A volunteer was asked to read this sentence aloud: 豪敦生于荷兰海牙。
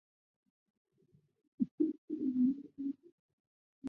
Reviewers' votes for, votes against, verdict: 0, 4, rejected